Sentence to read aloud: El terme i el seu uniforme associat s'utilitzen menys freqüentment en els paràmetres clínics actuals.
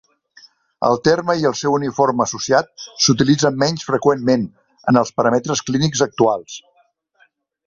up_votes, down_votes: 1, 2